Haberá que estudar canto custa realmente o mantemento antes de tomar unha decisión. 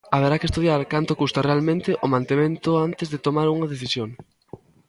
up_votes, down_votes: 1, 2